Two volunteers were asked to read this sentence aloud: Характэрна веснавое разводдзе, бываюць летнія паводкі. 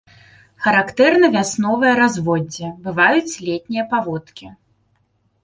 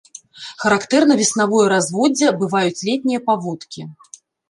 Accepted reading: second